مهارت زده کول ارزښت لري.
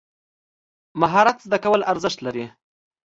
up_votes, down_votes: 2, 0